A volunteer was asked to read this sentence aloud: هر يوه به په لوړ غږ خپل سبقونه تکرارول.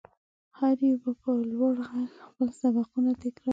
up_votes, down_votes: 1, 2